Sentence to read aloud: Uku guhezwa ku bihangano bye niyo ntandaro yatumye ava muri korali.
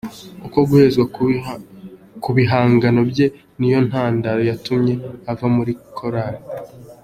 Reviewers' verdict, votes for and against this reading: accepted, 2, 0